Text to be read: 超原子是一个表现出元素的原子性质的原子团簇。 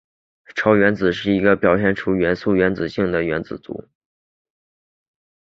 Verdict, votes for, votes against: accepted, 2, 0